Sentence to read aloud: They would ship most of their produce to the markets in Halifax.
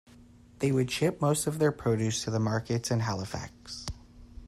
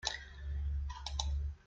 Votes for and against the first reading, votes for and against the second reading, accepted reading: 2, 0, 0, 2, first